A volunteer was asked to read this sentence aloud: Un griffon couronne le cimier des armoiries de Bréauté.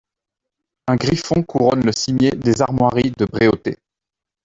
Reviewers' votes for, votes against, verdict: 2, 0, accepted